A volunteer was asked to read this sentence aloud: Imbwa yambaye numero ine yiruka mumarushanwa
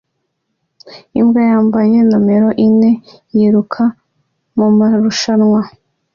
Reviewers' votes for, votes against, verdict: 2, 0, accepted